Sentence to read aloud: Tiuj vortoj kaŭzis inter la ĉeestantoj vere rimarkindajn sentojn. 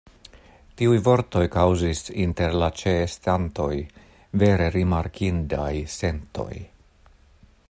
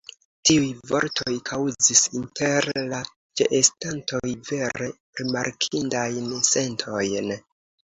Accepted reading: second